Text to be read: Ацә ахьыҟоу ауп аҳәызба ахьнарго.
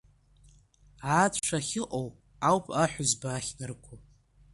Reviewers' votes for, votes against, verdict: 2, 1, accepted